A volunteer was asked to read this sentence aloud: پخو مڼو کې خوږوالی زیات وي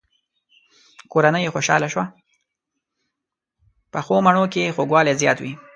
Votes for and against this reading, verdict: 2, 0, accepted